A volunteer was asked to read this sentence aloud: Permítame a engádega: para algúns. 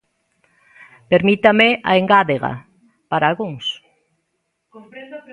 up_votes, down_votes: 1, 2